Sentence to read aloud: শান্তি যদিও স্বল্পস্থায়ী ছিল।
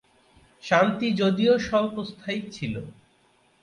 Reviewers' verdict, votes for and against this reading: accepted, 2, 0